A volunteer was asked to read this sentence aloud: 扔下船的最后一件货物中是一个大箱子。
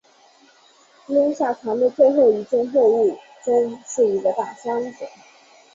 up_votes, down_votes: 9, 0